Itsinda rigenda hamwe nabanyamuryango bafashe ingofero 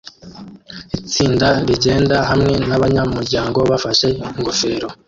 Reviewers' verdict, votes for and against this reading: rejected, 0, 2